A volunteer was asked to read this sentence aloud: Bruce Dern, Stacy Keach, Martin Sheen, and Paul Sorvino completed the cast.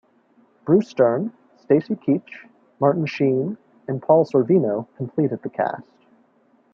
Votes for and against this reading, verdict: 2, 0, accepted